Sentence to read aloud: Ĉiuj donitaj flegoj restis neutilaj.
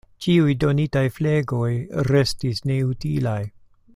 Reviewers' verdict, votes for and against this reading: accepted, 2, 0